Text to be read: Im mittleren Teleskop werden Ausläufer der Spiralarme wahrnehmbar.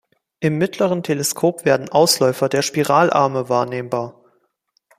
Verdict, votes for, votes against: accepted, 2, 0